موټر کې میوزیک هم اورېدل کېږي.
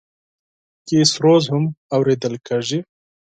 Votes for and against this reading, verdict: 4, 2, accepted